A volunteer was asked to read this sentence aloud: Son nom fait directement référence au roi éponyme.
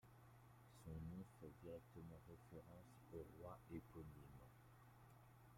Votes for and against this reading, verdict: 2, 0, accepted